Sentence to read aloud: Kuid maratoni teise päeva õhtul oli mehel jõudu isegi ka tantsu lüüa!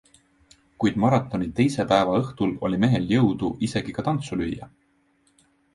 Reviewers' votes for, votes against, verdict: 2, 1, accepted